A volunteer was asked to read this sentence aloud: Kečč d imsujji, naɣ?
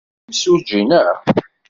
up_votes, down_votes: 0, 2